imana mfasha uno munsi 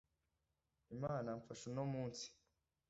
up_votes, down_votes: 2, 0